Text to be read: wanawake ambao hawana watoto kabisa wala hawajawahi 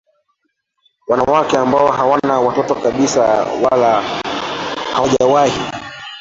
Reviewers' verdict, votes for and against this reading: rejected, 0, 2